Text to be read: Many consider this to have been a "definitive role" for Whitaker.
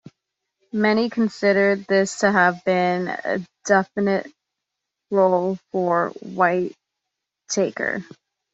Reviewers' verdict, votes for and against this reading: rejected, 1, 2